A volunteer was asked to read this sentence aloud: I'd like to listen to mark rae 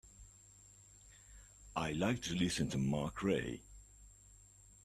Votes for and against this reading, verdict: 1, 2, rejected